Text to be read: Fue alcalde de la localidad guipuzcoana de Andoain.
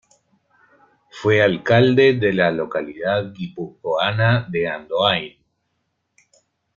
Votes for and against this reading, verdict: 1, 2, rejected